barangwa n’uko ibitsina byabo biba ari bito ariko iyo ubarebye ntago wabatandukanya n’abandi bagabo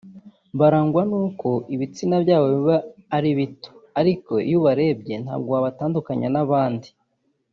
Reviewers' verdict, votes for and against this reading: rejected, 1, 3